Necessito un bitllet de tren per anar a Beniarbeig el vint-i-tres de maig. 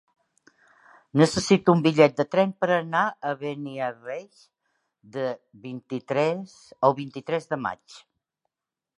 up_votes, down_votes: 0, 4